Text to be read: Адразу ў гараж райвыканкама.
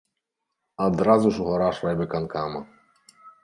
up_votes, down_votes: 1, 2